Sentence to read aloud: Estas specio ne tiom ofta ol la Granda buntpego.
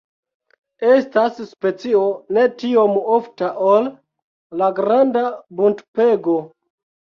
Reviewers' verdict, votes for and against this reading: rejected, 1, 2